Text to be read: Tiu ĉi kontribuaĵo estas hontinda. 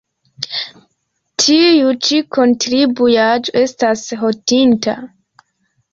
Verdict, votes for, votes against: accepted, 2, 1